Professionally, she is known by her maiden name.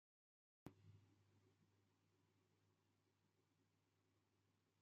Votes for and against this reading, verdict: 0, 2, rejected